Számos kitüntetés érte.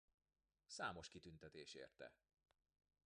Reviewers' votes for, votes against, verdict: 0, 2, rejected